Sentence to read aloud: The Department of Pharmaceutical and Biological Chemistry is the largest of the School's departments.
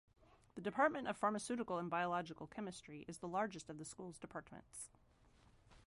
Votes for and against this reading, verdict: 2, 1, accepted